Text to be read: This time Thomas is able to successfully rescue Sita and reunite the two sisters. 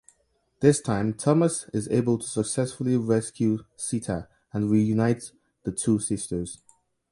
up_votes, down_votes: 2, 0